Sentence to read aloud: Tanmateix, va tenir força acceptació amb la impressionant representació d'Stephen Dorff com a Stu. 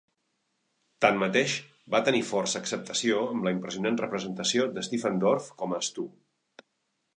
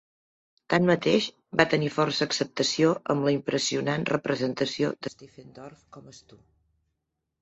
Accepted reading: first